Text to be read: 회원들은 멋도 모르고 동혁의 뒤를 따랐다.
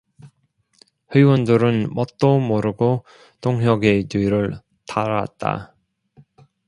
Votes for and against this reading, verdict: 0, 2, rejected